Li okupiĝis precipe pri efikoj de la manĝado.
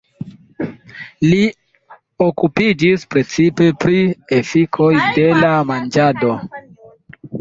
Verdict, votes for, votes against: accepted, 2, 1